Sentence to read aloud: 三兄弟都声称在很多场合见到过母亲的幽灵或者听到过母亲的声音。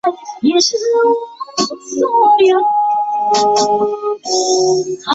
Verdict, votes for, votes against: rejected, 0, 3